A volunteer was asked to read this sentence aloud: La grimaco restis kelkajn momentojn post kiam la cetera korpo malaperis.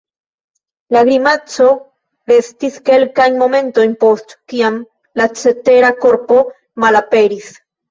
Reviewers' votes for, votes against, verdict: 2, 0, accepted